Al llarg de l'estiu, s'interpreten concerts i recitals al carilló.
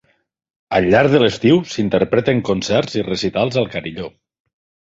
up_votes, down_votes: 3, 0